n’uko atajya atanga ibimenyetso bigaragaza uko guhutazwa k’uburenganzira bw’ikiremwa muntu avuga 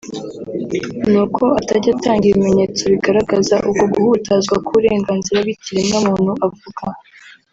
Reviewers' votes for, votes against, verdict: 1, 2, rejected